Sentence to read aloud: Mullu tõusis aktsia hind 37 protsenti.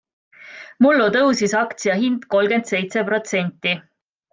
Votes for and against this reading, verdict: 0, 2, rejected